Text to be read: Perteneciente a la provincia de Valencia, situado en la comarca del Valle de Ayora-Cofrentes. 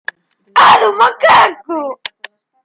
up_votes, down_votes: 0, 2